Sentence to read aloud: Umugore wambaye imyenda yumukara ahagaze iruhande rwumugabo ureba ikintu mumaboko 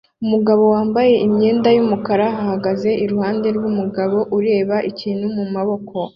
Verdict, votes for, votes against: accepted, 2, 0